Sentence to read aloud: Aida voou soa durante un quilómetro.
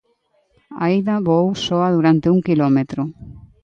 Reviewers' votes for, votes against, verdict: 2, 0, accepted